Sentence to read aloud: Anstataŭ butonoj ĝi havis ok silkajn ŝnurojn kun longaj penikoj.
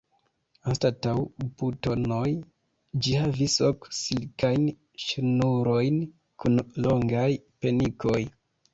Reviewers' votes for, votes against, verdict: 2, 1, accepted